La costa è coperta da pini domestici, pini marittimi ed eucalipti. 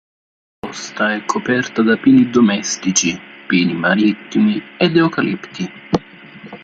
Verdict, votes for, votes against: rejected, 0, 2